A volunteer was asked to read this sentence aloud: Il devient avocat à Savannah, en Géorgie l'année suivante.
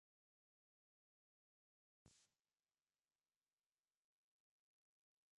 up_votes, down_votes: 0, 2